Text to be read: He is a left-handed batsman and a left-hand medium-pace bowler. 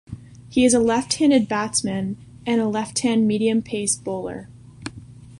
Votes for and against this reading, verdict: 3, 0, accepted